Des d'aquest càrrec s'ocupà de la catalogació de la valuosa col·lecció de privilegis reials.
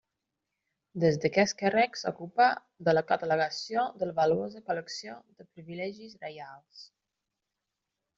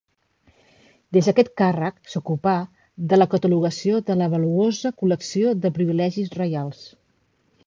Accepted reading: second